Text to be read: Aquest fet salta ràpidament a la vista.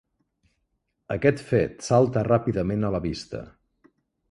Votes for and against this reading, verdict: 6, 0, accepted